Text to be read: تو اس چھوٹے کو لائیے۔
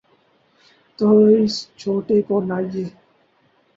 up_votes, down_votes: 0, 2